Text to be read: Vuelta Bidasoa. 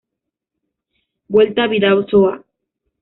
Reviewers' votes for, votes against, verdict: 0, 2, rejected